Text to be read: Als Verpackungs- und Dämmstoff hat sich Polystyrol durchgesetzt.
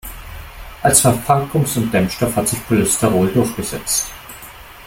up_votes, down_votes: 1, 2